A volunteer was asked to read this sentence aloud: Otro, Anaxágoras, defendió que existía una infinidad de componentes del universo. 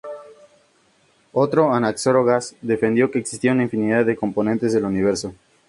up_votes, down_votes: 2, 0